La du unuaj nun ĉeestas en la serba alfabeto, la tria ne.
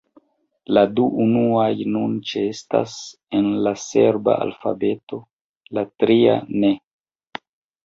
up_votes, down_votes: 2, 1